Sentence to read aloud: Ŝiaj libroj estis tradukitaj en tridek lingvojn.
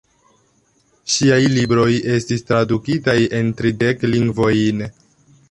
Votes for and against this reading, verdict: 0, 2, rejected